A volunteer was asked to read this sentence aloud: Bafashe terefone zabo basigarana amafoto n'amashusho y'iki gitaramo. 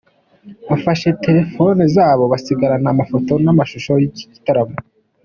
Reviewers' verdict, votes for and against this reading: accepted, 3, 1